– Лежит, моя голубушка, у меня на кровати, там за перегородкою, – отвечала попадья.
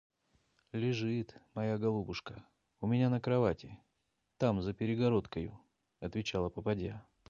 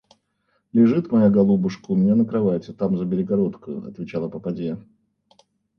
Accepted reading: first